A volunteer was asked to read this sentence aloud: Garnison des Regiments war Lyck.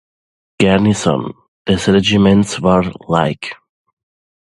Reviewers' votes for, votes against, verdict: 0, 2, rejected